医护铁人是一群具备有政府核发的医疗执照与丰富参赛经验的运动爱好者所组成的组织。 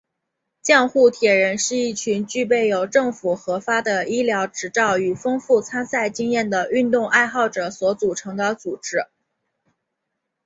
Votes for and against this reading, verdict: 0, 4, rejected